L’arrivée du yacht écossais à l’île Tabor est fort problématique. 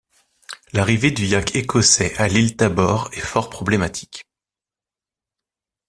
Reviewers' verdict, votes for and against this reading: rejected, 0, 2